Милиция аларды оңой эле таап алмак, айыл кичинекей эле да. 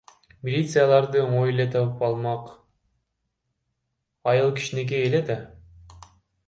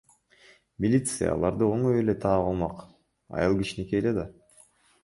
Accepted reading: second